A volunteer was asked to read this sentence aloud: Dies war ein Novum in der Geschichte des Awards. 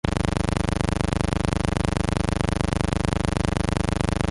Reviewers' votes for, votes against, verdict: 0, 2, rejected